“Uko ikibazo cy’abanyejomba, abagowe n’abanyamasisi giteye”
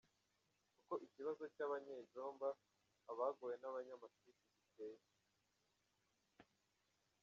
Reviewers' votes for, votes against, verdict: 2, 0, accepted